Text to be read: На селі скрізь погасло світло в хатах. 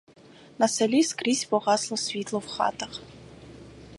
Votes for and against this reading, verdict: 2, 2, rejected